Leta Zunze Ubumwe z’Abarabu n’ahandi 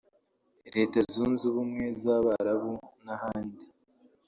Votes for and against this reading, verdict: 0, 2, rejected